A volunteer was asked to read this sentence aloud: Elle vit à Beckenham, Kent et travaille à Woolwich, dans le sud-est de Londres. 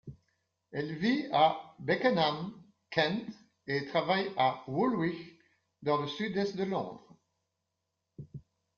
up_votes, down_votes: 2, 1